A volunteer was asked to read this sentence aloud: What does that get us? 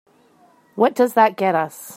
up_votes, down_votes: 2, 0